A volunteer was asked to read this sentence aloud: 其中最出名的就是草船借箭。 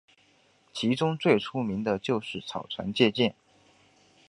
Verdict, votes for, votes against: accepted, 2, 0